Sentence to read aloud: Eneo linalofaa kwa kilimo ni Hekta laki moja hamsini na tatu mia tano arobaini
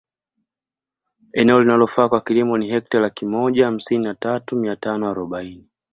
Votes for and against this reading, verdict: 2, 0, accepted